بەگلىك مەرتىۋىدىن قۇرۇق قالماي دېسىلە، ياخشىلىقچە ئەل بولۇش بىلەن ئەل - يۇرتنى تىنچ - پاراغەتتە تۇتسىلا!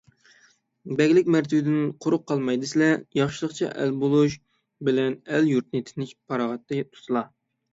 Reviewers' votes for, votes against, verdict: 3, 6, rejected